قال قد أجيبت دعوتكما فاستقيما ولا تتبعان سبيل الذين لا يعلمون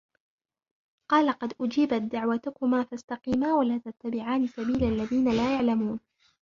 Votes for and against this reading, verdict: 1, 2, rejected